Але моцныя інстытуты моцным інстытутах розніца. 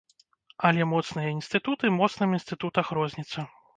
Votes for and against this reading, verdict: 2, 0, accepted